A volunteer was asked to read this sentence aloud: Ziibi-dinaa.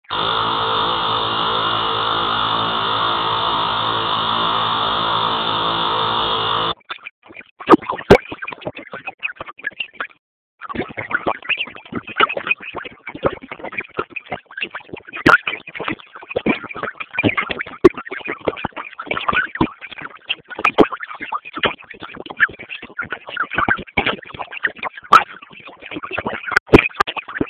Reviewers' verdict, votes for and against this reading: rejected, 0, 2